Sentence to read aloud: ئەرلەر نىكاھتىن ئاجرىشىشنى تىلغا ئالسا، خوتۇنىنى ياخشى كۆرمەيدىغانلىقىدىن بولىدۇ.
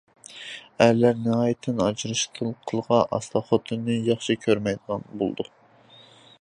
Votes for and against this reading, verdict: 0, 2, rejected